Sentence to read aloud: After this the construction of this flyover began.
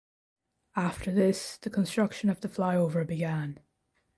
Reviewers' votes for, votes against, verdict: 2, 0, accepted